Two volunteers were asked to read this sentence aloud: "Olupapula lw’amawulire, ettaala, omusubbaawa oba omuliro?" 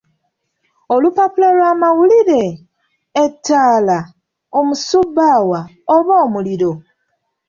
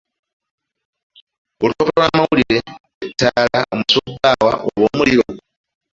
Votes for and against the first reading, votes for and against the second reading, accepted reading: 2, 0, 1, 2, first